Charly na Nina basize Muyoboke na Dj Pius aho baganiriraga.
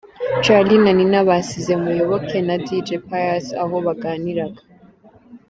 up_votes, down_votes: 0, 2